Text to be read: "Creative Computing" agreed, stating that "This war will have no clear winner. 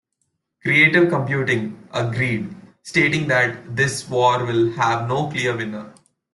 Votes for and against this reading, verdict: 2, 0, accepted